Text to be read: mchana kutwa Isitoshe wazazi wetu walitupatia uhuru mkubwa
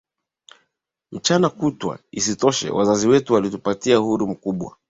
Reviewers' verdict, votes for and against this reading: accepted, 2, 0